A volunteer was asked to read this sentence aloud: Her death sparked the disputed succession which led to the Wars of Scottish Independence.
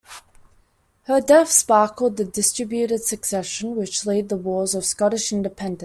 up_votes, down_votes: 1, 2